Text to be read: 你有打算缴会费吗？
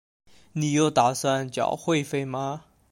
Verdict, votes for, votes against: accepted, 2, 0